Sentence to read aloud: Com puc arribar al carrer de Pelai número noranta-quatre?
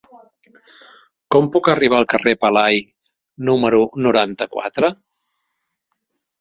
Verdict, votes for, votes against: rejected, 0, 2